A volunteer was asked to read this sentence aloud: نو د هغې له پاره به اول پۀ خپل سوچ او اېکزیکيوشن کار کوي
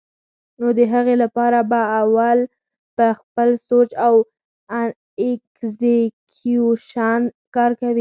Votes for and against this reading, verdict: 4, 0, accepted